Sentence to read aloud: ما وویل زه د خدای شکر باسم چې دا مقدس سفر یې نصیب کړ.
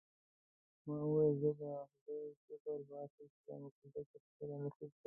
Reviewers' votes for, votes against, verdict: 1, 2, rejected